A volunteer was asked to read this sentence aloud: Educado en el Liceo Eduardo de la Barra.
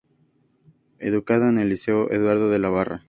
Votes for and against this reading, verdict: 2, 0, accepted